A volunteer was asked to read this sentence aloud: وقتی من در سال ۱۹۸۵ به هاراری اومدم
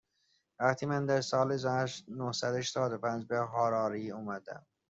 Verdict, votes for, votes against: rejected, 0, 2